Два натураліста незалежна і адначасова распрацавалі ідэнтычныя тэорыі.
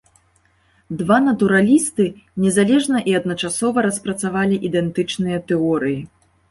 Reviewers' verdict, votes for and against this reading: rejected, 2, 3